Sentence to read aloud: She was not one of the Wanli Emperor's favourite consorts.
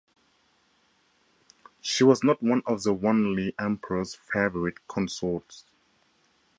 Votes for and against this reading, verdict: 2, 0, accepted